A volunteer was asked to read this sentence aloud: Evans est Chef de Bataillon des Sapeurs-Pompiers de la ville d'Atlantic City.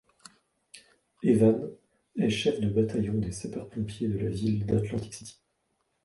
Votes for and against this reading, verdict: 2, 0, accepted